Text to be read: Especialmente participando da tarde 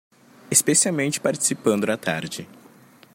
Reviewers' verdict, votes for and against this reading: accepted, 2, 1